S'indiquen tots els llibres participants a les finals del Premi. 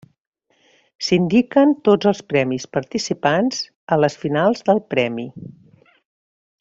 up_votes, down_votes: 1, 2